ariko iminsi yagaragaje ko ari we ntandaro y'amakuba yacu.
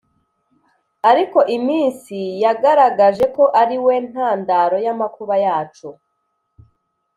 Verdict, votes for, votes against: accepted, 2, 0